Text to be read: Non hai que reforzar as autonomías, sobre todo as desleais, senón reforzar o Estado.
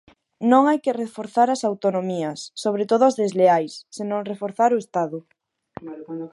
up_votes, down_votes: 4, 0